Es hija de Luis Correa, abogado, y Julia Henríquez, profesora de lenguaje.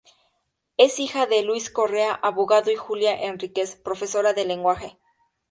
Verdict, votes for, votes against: accepted, 4, 0